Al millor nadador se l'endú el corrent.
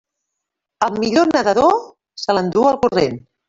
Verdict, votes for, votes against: rejected, 1, 2